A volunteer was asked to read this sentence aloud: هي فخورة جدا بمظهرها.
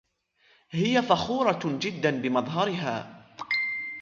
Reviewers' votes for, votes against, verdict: 0, 2, rejected